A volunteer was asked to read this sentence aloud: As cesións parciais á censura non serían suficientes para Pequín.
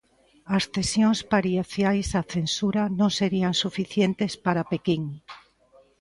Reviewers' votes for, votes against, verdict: 0, 2, rejected